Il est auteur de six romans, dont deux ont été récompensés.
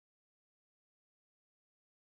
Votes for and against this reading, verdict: 0, 2, rejected